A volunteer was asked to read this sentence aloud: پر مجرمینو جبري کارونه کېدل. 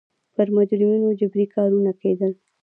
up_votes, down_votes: 0, 2